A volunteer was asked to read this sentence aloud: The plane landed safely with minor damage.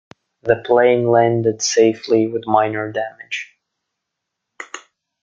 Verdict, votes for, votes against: accepted, 2, 0